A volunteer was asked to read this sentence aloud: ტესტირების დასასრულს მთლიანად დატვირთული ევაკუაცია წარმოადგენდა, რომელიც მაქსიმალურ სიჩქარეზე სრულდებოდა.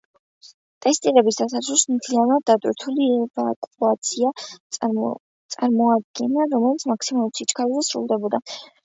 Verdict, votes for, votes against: rejected, 0, 2